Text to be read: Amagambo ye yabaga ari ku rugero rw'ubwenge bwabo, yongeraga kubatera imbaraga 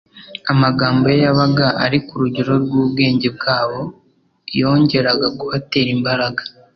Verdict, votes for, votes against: accepted, 2, 0